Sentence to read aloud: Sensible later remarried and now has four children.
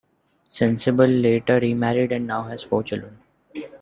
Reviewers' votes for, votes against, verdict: 2, 1, accepted